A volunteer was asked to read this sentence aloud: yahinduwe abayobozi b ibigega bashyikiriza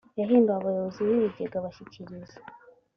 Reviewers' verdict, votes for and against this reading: accepted, 2, 1